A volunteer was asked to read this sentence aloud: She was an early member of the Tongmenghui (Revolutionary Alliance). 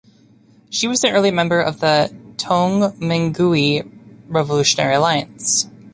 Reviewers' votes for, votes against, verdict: 2, 0, accepted